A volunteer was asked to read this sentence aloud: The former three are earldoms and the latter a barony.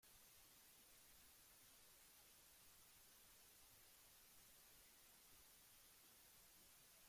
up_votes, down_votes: 0, 2